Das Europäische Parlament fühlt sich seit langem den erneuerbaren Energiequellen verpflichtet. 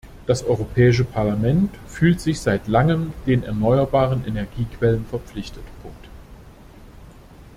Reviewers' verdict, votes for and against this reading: accepted, 2, 1